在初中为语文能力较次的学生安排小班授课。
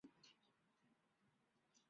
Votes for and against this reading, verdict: 0, 5, rejected